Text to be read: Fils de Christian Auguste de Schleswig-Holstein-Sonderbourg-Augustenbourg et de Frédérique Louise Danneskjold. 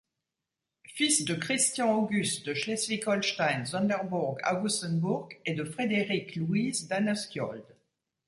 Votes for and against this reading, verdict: 1, 2, rejected